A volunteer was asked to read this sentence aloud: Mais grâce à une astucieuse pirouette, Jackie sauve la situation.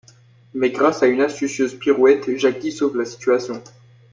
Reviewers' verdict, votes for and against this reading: accepted, 2, 0